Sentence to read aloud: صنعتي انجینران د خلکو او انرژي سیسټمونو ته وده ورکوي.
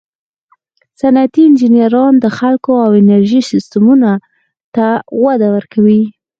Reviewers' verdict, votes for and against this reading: accepted, 4, 0